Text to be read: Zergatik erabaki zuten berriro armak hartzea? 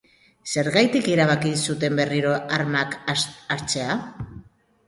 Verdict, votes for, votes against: rejected, 1, 2